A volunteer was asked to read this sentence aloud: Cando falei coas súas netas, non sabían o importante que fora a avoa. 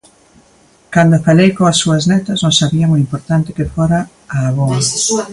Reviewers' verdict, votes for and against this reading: rejected, 0, 2